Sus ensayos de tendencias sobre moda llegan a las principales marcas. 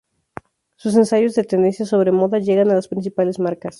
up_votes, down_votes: 2, 0